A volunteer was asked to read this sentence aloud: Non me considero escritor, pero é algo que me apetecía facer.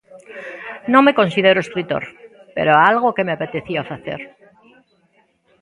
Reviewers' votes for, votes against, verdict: 2, 0, accepted